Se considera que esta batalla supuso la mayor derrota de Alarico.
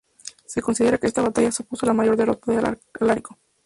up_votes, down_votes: 2, 0